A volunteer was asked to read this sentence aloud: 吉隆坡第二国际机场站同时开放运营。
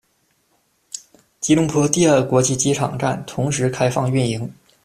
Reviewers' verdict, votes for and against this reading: accepted, 2, 1